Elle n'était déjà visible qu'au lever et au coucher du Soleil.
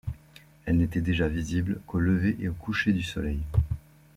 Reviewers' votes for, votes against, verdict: 2, 0, accepted